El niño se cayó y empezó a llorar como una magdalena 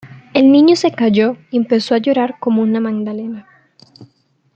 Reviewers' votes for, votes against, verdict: 2, 1, accepted